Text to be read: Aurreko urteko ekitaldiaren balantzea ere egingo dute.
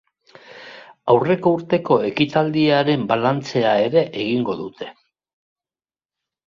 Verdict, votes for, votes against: accepted, 2, 0